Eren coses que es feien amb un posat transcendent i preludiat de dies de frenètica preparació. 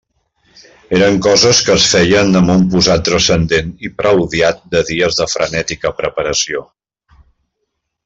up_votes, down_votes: 2, 0